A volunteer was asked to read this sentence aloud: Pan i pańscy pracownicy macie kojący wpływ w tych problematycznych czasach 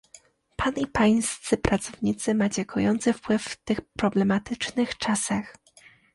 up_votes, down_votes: 2, 0